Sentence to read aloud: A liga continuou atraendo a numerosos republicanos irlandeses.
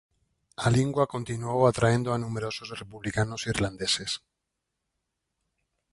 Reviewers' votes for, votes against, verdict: 0, 4, rejected